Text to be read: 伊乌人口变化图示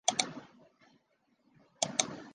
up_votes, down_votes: 1, 2